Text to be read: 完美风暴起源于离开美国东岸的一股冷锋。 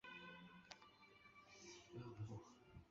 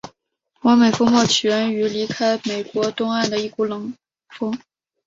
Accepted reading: second